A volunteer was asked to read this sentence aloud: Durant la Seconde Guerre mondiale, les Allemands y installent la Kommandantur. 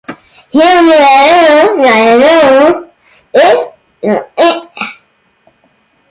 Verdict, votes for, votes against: rejected, 0, 2